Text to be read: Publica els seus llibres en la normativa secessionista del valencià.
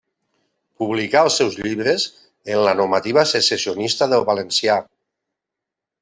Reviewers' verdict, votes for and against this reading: rejected, 0, 2